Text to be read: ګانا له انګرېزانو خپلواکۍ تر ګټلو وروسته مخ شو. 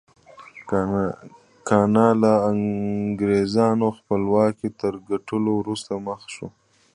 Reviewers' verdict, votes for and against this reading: accepted, 2, 1